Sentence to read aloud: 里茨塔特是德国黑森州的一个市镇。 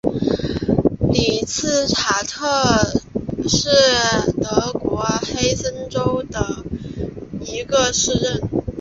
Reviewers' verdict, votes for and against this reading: accepted, 7, 0